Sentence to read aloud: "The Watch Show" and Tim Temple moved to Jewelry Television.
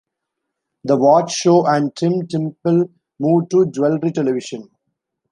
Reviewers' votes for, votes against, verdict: 2, 1, accepted